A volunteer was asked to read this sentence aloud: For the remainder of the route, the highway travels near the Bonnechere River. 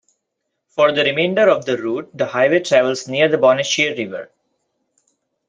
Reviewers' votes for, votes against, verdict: 2, 0, accepted